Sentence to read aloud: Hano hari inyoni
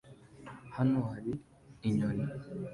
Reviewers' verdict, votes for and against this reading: accepted, 2, 0